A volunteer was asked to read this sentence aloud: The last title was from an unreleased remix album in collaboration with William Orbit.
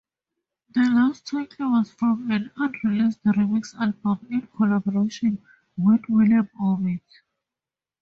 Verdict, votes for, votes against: rejected, 2, 2